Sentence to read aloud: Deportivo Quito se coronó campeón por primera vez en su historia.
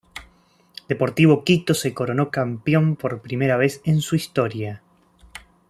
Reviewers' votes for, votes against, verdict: 1, 2, rejected